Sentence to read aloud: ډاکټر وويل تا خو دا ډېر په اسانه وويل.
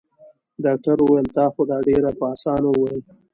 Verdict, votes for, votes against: accepted, 2, 1